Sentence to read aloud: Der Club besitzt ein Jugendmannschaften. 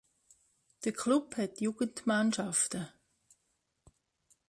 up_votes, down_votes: 0, 2